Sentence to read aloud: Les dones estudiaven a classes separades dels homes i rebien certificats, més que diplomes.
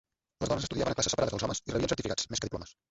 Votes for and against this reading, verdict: 0, 2, rejected